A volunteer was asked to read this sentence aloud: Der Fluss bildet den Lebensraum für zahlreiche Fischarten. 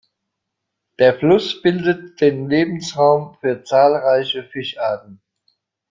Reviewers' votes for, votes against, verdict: 2, 0, accepted